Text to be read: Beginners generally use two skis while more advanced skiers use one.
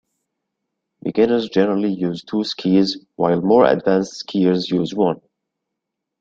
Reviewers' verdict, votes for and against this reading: accepted, 2, 0